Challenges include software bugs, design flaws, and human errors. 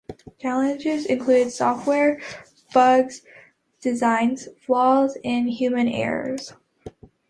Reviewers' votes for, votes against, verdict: 2, 0, accepted